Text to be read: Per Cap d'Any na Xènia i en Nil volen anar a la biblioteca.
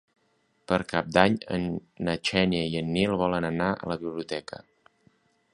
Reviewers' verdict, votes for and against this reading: rejected, 1, 2